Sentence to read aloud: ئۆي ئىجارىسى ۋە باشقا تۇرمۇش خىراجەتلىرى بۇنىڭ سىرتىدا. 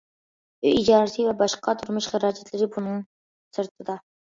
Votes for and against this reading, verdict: 2, 0, accepted